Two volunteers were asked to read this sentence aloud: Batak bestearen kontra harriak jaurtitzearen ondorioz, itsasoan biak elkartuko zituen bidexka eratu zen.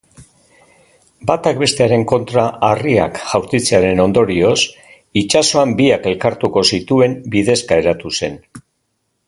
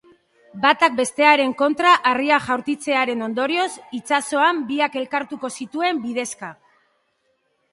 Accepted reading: first